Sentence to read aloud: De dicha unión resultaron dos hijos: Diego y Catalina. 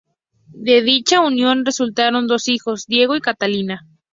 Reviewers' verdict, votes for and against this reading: accepted, 2, 0